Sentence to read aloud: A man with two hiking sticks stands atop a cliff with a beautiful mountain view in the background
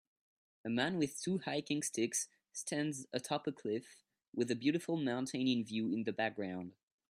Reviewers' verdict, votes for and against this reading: rejected, 0, 2